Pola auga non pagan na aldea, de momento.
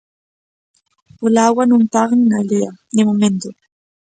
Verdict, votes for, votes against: rejected, 1, 2